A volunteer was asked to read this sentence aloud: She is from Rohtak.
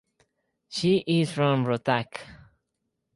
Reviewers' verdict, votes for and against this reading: accepted, 4, 0